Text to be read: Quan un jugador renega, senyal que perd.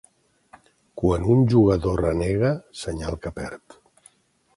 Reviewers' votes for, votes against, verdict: 2, 0, accepted